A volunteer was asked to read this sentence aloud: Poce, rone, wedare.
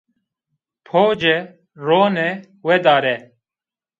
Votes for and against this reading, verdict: 2, 0, accepted